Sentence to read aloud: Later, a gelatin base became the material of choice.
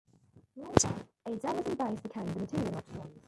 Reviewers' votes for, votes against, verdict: 1, 2, rejected